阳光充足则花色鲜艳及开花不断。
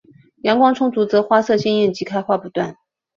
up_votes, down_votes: 2, 0